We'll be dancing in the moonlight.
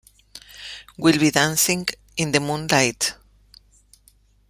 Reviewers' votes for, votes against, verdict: 1, 2, rejected